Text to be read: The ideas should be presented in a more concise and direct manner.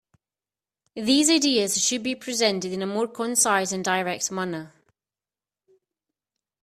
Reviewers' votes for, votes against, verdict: 3, 7, rejected